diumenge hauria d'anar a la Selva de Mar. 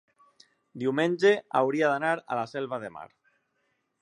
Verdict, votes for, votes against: accepted, 3, 0